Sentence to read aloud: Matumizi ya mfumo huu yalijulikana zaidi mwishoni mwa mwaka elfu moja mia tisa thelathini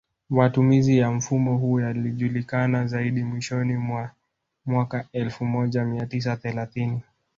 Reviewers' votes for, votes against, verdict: 0, 2, rejected